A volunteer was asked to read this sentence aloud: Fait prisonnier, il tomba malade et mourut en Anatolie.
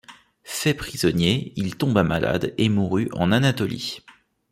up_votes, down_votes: 2, 0